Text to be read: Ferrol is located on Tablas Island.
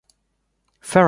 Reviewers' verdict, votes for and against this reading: rejected, 0, 2